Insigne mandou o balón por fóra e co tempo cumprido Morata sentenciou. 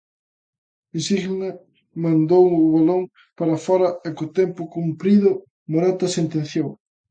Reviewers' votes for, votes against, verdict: 0, 2, rejected